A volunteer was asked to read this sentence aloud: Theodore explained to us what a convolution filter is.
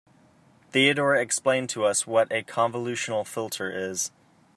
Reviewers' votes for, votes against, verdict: 0, 2, rejected